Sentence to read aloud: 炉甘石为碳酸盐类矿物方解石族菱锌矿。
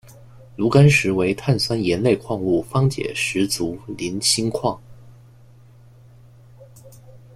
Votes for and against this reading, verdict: 2, 1, accepted